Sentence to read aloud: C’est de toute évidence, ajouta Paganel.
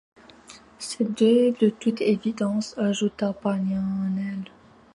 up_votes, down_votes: 2, 0